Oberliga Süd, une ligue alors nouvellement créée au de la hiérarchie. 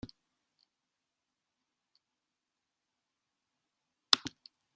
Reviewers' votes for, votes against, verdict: 0, 2, rejected